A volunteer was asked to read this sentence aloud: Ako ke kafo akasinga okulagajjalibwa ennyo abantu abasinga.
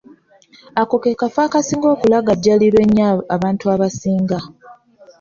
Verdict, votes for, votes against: rejected, 1, 2